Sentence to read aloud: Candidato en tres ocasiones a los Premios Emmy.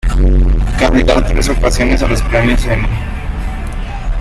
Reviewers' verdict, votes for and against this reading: rejected, 1, 2